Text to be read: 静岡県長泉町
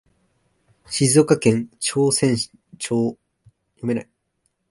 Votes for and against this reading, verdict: 0, 2, rejected